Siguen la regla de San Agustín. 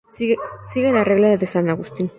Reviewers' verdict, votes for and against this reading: rejected, 0, 2